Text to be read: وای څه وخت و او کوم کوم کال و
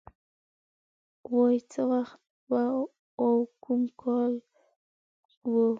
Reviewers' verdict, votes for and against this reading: rejected, 1, 2